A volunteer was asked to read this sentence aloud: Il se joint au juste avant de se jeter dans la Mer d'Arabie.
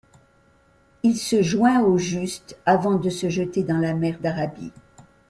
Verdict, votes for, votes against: accepted, 2, 0